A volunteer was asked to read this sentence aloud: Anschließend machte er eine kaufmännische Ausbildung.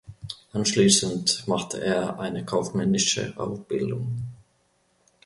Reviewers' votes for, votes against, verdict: 1, 2, rejected